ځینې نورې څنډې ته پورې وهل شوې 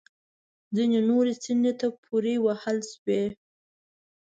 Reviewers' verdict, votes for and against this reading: accepted, 2, 1